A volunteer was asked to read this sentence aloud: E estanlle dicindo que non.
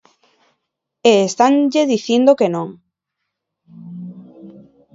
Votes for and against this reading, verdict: 2, 0, accepted